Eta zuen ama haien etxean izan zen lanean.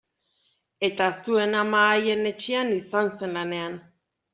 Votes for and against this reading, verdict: 2, 0, accepted